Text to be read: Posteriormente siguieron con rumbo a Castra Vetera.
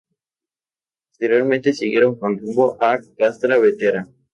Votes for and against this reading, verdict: 2, 0, accepted